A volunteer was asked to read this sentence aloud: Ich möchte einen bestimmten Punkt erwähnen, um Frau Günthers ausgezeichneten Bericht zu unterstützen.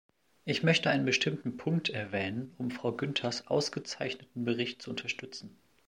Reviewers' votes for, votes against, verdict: 2, 0, accepted